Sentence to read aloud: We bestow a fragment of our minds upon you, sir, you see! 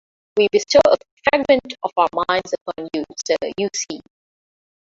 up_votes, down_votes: 0, 2